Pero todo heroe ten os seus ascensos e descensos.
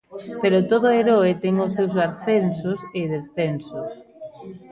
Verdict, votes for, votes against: rejected, 0, 2